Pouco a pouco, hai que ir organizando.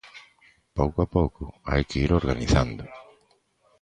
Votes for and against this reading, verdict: 1, 2, rejected